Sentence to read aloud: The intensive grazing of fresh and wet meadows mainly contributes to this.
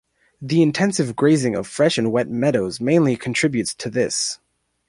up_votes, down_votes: 2, 1